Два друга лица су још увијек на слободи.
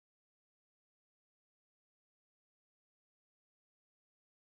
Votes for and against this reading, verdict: 0, 2, rejected